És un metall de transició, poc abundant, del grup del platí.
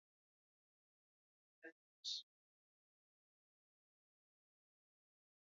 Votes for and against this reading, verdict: 0, 2, rejected